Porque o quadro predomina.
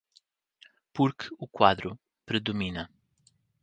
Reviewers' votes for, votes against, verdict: 1, 2, rejected